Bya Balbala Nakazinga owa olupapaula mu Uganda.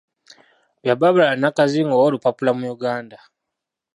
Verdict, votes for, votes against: accepted, 2, 1